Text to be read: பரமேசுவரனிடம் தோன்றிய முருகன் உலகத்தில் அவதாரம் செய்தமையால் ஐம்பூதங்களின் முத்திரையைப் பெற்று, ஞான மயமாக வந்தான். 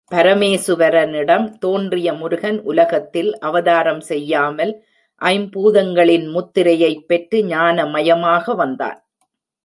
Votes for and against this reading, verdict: 0, 2, rejected